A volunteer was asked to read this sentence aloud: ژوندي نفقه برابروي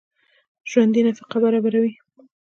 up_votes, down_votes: 2, 0